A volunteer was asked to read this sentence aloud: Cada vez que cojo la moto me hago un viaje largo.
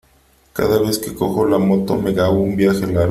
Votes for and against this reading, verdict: 2, 1, accepted